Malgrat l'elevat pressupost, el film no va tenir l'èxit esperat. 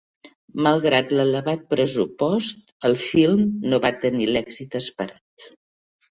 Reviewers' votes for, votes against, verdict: 4, 1, accepted